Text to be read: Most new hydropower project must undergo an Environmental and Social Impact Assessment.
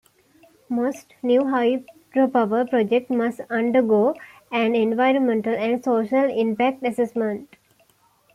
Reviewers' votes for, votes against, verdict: 2, 0, accepted